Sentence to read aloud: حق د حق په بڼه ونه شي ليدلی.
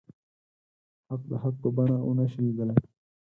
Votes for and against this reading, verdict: 0, 4, rejected